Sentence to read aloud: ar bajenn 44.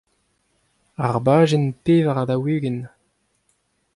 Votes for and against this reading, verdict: 0, 2, rejected